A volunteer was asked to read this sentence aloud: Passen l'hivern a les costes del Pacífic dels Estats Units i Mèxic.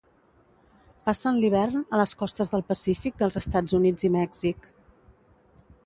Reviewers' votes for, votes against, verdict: 2, 0, accepted